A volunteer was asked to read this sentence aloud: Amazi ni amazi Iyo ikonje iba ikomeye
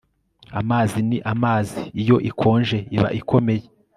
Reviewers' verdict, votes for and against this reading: accepted, 2, 0